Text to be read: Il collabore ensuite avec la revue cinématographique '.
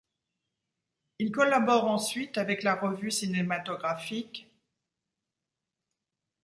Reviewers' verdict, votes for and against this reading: accepted, 2, 0